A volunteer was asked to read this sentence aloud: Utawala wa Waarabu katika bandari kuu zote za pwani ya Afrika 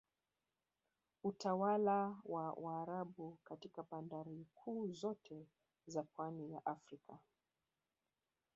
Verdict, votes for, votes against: accepted, 2, 0